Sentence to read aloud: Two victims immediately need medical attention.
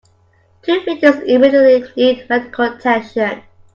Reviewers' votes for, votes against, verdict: 2, 1, accepted